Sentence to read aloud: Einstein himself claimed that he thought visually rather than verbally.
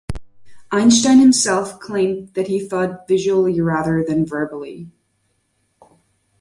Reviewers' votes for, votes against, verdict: 1, 2, rejected